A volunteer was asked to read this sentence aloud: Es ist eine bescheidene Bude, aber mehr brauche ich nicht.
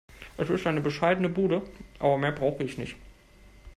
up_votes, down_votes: 1, 2